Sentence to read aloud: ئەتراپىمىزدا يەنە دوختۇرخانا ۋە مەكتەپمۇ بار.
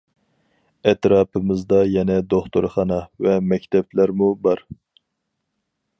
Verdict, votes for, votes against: rejected, 0, 4